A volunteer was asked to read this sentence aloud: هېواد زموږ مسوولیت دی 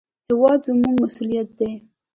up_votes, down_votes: 2, 1